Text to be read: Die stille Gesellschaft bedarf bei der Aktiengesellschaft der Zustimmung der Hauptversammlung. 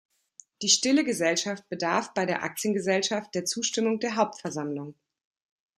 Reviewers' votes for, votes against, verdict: 2, 0, accepted